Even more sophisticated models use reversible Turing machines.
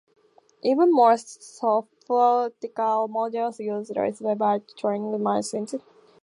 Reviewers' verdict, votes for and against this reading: accepted, 2, 0